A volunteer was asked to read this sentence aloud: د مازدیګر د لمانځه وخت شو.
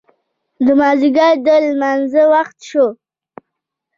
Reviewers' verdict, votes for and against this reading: rejected, 1, 2